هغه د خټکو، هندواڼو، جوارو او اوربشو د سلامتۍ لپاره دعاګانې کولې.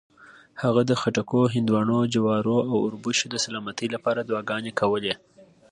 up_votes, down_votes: 2, 0